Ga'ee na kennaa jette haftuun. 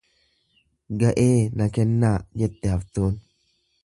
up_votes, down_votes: 2, 0